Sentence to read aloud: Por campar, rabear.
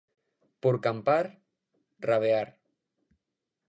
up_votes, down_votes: 2, 0